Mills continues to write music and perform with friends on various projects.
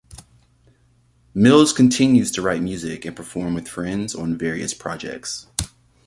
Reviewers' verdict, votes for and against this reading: accepted, 2, 0